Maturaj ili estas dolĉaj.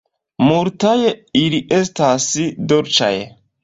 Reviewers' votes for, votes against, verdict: 1, 2, rejected